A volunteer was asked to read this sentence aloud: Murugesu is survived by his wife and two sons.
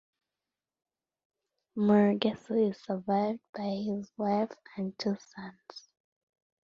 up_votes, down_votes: 1, 2